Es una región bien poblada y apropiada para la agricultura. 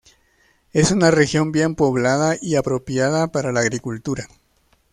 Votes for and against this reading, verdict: 2, 0, accepted